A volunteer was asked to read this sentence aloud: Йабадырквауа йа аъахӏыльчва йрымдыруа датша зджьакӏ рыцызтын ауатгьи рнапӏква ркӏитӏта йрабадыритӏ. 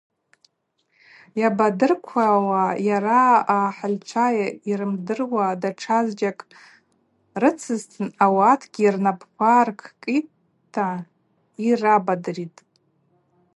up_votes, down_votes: 2, 2